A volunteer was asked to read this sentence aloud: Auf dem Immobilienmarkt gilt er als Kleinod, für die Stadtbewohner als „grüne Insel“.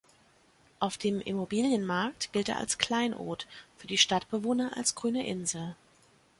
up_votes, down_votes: 2, 0